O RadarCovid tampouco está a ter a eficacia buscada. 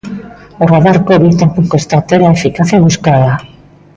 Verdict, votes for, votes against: rejected, 1, 2